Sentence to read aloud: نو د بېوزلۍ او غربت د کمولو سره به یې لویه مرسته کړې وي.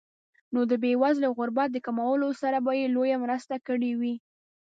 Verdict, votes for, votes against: accepted, 2, 0